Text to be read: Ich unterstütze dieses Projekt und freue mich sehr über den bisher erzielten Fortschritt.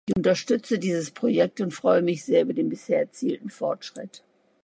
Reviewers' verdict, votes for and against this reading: rejected, 1, 2